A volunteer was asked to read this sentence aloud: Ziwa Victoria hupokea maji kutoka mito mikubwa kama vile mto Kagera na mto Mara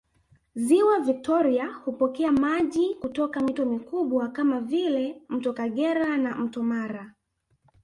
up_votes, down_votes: 1, 2